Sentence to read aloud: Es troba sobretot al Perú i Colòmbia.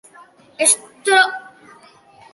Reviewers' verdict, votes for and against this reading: rejected, 1, 2